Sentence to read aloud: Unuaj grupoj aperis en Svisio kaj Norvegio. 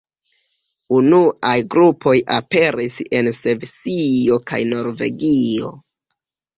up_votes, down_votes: 2, 0